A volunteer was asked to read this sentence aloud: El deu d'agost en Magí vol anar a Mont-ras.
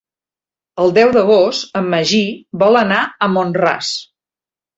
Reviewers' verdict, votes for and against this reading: accepted, 3, 0